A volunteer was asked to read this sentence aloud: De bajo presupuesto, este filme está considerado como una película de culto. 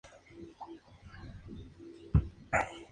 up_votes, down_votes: 2, 2